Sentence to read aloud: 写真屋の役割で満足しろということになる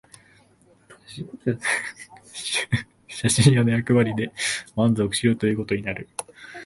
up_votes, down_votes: 1, 2